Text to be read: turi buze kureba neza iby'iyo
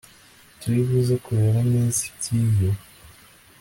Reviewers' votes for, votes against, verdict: 2, 0, accepted